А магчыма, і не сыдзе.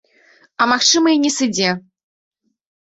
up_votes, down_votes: 0, 2